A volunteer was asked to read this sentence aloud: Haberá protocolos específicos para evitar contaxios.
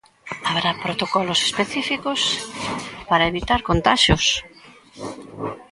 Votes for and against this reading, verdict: 2, 0, accepted